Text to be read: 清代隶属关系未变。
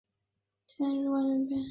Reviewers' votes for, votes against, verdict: 0, 3, rejected